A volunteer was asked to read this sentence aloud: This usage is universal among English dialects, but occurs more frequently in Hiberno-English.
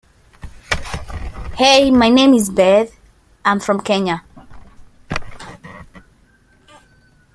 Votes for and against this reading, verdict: 0, 2, rejected